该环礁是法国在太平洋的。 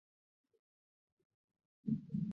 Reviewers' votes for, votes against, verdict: 0, 2, rejected